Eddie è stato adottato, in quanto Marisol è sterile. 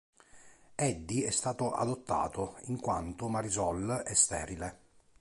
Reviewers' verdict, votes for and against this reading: accepted, 2, 0